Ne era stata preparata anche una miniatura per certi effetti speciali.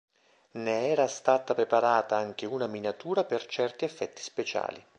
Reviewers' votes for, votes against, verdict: 2, 0, accepted